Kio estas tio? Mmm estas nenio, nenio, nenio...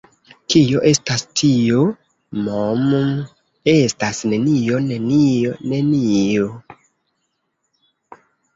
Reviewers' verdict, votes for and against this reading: accepted, 2, 1